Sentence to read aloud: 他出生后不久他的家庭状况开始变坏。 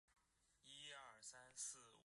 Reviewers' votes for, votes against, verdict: 2, 4, rejected